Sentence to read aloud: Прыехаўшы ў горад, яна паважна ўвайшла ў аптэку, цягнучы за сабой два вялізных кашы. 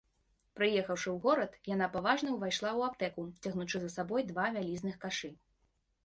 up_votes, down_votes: 2, 0